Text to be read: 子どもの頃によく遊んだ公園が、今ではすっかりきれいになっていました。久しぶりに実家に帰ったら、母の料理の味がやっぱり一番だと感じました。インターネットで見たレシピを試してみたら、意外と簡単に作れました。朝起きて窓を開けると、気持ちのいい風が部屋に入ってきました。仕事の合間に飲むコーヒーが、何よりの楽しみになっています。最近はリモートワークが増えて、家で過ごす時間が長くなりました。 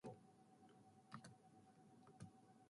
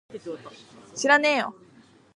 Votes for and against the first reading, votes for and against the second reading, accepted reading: 1, 2, 2, 1, second